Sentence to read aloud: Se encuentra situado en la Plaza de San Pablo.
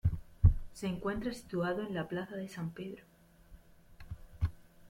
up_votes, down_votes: 0, 2